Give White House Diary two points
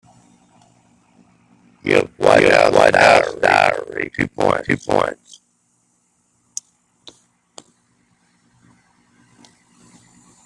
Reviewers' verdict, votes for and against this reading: rejected, 0, 2